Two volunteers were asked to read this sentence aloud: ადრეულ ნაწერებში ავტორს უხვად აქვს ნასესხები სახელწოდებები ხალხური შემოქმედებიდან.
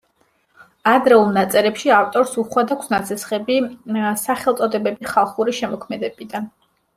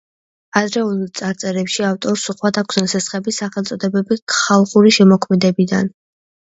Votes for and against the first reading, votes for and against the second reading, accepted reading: 2, 0, 0, 2, first